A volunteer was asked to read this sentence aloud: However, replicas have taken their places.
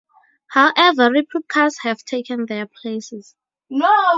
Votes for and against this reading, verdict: 4, 0, accepted